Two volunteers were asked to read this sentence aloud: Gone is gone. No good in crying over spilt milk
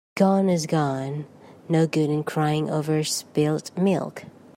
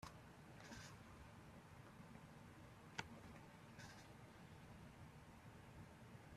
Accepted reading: first